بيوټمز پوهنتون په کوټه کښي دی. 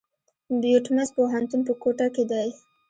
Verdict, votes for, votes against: accepted, 2, 1